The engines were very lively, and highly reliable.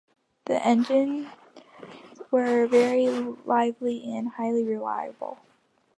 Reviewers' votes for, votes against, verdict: 1, 2, rejected